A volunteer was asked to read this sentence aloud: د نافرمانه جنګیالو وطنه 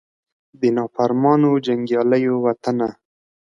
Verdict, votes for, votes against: accepted, 2, 0